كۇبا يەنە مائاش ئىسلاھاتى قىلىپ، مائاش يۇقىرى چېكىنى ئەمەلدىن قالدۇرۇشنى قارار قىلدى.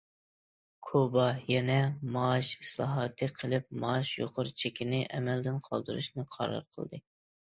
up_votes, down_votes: 2, 0